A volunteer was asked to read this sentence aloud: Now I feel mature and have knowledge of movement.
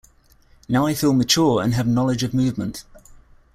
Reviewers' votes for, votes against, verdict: 2, 0, accepted